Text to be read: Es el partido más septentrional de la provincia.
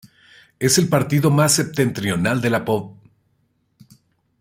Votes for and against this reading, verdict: 0, 2, rejected